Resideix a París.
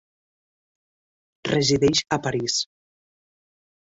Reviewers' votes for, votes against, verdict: 2, 0, accepted